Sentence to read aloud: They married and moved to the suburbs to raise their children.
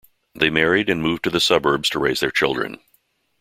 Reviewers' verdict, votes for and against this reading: accepted, 2, 0